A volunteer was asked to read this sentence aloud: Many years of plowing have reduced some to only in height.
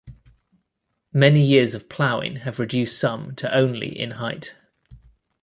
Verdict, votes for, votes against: accepted, 2, 0